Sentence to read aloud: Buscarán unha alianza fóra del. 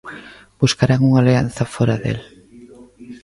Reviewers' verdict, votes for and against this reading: accepted, 2, 0